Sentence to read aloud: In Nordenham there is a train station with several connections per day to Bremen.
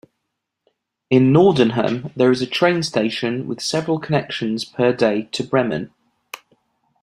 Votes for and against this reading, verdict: 2, 0, accepted